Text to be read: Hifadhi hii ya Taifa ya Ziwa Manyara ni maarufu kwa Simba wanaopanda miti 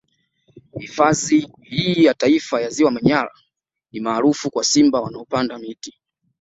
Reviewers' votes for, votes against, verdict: 2, 0, accepted